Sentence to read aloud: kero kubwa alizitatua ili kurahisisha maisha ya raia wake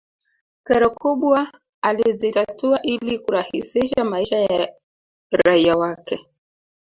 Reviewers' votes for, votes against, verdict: 2, 3, rejected